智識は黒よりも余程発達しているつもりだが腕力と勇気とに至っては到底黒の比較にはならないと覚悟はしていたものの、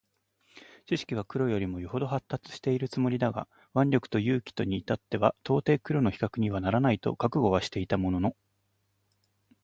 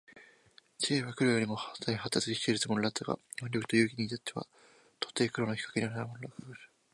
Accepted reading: first